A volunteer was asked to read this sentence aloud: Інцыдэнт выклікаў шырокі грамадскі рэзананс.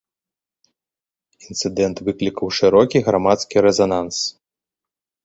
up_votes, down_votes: 2, 1